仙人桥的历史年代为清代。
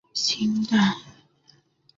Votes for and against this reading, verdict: 0, 2, rejected